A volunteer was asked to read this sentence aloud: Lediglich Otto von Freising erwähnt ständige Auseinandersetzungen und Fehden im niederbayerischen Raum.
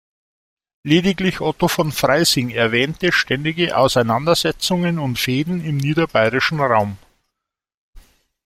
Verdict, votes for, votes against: rejected, 0, 2